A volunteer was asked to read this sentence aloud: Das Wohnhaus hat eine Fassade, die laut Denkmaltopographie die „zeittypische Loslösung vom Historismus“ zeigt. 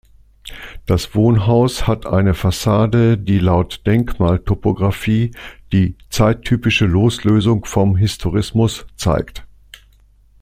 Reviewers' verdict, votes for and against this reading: accepted, 2, 0